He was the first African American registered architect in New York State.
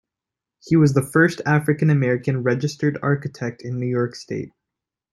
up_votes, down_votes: 2, 0